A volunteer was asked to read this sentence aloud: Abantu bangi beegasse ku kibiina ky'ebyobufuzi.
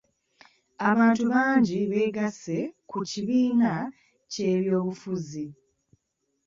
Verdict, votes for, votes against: accepted, 2, 0